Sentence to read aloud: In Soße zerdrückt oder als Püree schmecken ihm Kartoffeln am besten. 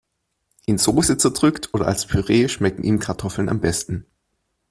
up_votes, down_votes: 2, 0